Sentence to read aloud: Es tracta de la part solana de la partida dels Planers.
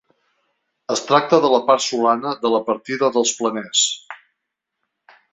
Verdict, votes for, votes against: accepted, 3, 0